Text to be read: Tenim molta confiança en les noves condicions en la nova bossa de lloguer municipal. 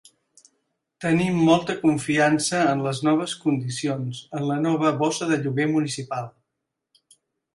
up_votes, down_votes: 4, 0